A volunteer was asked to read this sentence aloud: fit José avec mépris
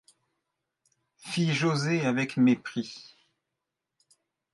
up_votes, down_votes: 2, 0